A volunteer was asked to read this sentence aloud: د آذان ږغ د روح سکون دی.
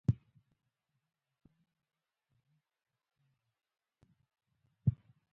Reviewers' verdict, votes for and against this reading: rejected, 1, 2